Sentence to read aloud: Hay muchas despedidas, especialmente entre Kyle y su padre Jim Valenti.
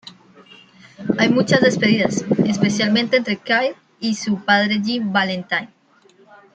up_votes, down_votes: 2, 1